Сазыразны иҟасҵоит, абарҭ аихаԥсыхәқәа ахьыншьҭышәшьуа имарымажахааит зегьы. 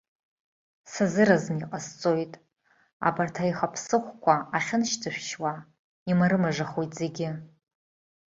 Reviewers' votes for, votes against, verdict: 1, 2, rejected